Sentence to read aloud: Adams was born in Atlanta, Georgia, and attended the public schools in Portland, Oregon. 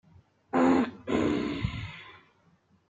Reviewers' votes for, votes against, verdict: 1, 2, rejected